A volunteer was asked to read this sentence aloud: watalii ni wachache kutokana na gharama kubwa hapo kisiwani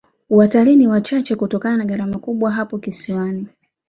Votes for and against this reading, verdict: 2, 0, accepted